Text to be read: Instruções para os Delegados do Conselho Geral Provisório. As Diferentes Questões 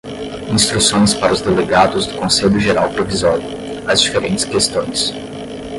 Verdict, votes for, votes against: accepted, 5, 0